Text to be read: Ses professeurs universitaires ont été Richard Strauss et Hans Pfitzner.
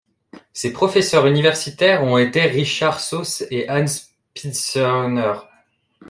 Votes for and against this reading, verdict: 0, 2, rejected